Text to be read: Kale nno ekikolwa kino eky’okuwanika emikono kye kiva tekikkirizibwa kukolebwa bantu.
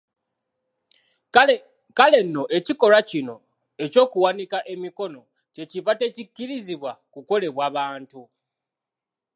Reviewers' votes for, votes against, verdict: 0, 2, rejected